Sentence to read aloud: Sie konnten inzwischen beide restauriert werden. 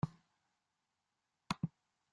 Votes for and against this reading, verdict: 0, 2, rejected